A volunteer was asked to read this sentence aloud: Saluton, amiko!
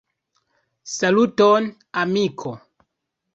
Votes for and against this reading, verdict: 2, 1, accepted